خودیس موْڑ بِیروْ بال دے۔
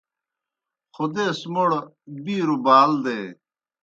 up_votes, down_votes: 2, 0